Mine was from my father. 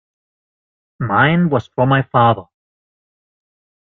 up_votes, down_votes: 2, 1